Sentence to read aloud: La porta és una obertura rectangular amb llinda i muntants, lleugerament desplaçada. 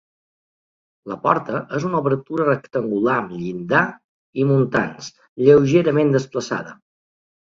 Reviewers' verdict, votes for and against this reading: rejected, 0, 2